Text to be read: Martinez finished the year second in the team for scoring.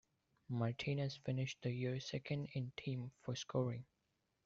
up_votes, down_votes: 0, 2